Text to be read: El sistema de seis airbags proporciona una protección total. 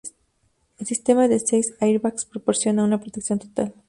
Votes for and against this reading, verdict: 2, 2, rejected